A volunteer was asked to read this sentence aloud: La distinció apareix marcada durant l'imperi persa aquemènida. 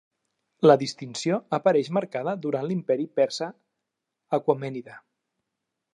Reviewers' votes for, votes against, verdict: 0, 2, rejected